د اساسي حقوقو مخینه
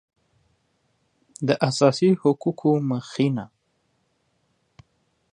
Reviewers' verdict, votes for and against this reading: accepted, 2, 0